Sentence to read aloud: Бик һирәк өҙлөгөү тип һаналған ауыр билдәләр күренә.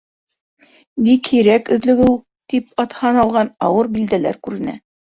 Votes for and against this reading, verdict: 1, 2, rejected